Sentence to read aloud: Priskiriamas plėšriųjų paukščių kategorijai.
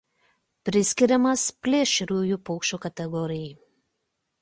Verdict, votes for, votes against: accepted, 2, 0